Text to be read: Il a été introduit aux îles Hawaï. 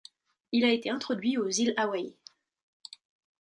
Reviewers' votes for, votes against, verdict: 2, 0, accepted